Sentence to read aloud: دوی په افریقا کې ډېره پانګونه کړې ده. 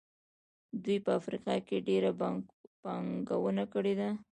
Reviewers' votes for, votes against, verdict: 1, 2, rejected